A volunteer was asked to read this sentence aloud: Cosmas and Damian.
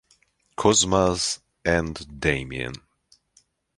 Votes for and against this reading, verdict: 2, 1, accepted